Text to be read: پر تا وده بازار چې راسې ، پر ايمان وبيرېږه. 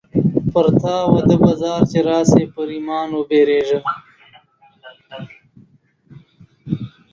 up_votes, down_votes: 4, 0